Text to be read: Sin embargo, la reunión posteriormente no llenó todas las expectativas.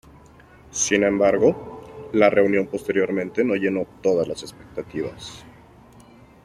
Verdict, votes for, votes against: accepted, 2, 0